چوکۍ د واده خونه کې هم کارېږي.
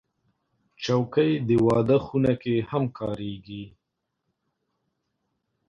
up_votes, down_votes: 2, 0